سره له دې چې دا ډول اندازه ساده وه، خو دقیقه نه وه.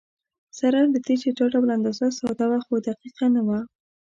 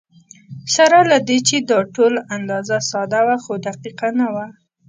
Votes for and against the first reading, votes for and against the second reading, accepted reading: 2, 0, 1, 2, first